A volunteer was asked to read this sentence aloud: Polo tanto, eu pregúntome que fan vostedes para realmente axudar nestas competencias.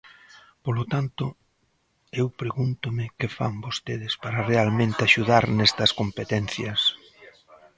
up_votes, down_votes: 1, 2